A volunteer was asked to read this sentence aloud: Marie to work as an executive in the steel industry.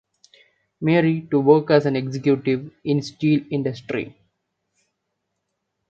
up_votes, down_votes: 1, 2